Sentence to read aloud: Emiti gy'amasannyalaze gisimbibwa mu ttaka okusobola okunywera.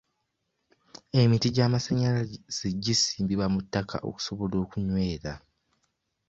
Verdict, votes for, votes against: rejected, 0, 2